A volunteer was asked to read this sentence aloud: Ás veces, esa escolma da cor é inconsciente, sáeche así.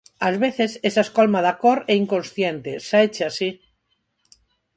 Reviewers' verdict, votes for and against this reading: accepted, 4, 0